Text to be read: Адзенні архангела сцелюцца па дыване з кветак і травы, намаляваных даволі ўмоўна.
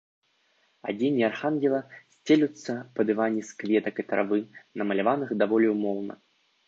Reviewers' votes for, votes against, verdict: 2, 0, accepted